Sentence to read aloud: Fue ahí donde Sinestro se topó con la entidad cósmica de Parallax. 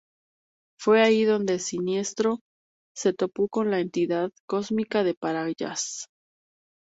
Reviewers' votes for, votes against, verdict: 2, 0, accepted